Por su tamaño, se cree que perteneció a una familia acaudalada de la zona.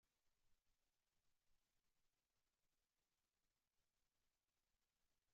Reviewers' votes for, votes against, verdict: 0, 2, rejected